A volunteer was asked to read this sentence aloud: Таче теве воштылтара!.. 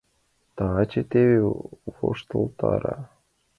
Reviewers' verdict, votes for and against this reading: accepted, 2, 0